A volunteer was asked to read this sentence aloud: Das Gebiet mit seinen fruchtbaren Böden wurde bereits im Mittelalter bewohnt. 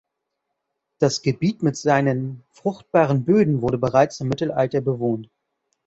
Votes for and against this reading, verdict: 2, 0, accepted